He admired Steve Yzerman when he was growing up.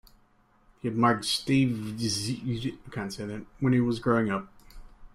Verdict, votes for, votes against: rejected, 0, 2